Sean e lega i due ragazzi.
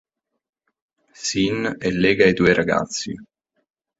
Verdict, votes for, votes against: rejected, 1, 2